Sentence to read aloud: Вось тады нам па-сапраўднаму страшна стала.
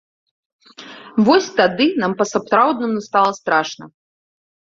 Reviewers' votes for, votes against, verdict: 0, 2, rejected